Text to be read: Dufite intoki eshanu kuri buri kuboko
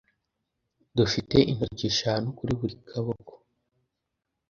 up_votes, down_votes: 1, 2